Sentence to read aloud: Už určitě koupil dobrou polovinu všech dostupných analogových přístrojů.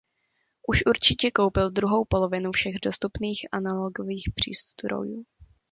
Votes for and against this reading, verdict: 1, 2, rejected